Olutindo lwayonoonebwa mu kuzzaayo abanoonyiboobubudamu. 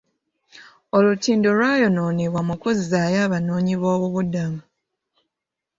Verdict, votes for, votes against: accepted, 2, 1